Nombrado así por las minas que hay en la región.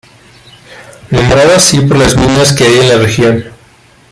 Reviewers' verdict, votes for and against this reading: accepted, 2, 1